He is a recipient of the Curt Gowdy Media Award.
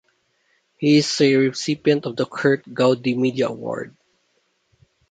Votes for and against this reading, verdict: 1, 2, rejected